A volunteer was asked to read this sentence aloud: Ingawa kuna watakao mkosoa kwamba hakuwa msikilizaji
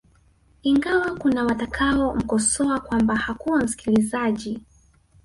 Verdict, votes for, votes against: rejected, 0, 2